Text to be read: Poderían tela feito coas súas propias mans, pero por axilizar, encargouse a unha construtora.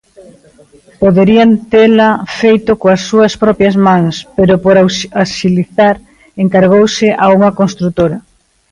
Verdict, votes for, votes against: rejected, 0, 2